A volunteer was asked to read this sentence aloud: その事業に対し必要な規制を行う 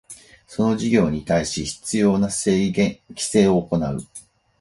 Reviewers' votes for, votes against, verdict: 0, 4, rejected